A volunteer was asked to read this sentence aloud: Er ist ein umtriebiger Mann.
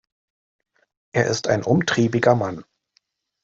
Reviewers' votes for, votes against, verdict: 2, 0, accepted